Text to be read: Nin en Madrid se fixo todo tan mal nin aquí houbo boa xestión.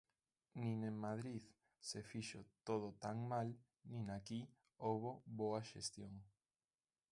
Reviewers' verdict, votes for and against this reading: rejected, 0, 2